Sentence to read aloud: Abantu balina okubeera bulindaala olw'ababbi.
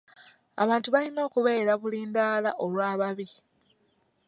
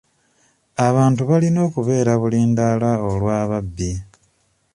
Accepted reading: second